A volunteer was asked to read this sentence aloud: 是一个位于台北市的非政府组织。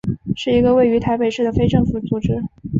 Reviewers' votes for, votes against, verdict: 3, 0, accepted